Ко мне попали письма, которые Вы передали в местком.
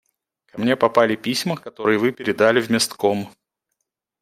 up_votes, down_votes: 2, 1